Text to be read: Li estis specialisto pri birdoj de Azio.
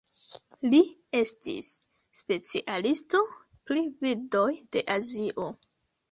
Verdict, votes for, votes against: accepted, 2, 1